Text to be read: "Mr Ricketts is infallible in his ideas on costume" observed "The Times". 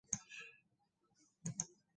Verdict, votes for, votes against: rejected, 0, 2